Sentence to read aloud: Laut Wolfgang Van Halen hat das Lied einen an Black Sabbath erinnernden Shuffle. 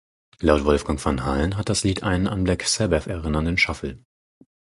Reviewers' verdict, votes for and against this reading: accepted, 4, 0